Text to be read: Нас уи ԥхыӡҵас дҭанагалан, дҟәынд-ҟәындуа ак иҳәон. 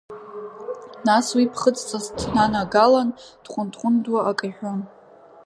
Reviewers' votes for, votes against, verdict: 0, 2, rejected